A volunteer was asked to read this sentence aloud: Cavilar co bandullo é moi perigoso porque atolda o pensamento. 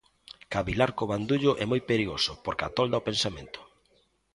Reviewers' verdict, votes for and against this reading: accepted, 2, 1